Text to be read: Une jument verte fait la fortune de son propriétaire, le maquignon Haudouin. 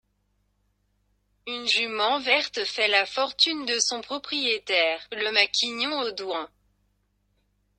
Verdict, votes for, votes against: rejected, 1, 2